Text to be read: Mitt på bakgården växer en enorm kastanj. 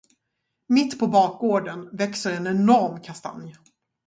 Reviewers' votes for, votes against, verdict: 2, 0, accepted